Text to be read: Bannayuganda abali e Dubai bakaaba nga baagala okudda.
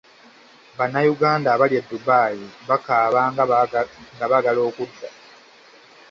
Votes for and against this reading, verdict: 1, 2, rejected